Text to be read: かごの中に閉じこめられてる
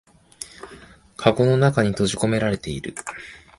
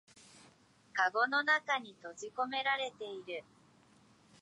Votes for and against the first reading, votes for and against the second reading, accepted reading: 2, 0, 3, 4, first